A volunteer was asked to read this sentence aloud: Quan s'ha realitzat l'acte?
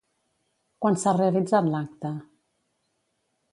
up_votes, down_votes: 2, 0